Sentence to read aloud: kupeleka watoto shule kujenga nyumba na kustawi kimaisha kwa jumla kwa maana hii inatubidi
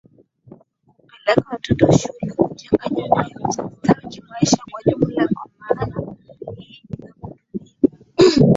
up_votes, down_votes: 3, 7